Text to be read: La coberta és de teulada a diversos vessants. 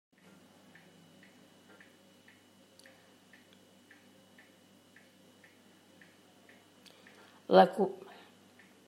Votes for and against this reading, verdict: 0, 2, rejected